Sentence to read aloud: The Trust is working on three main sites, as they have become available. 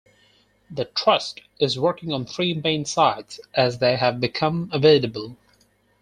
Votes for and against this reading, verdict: 2, 4, rejected